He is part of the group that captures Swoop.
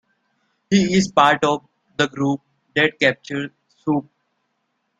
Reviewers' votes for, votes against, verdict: 0, 2, rejected